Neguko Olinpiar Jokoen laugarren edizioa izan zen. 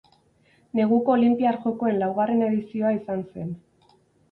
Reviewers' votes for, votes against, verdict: 4, 0, accepted